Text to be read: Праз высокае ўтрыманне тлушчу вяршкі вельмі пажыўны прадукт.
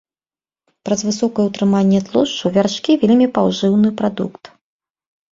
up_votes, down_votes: 0, 2